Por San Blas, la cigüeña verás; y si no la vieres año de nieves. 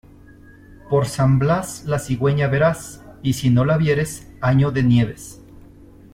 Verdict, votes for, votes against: accepted, 2, 0